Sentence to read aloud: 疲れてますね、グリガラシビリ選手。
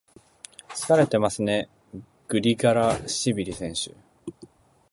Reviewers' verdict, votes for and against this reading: accepted, 3, 1